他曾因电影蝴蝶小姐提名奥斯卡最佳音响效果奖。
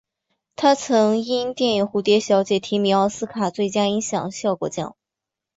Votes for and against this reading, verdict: 2, 0, accepted